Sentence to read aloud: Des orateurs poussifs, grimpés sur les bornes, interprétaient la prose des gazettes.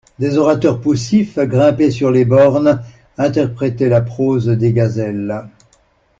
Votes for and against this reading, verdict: 0, 2, rejected